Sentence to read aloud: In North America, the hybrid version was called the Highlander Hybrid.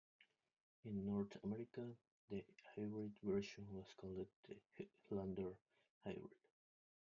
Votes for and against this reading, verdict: 0, 2, rejected